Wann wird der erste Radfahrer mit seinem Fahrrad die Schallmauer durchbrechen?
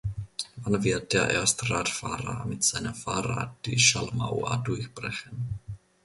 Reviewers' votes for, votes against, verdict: 2, 0, accepted